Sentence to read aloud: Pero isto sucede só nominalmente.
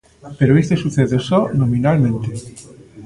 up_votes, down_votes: 2, 0